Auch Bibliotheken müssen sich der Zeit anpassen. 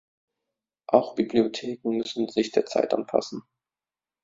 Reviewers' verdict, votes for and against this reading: accepted, 2, 0